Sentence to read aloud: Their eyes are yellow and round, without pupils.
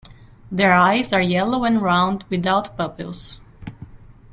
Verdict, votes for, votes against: rejected, 1, 2